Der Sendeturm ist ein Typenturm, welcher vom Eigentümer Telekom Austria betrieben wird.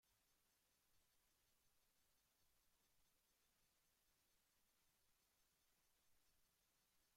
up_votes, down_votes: 0, 2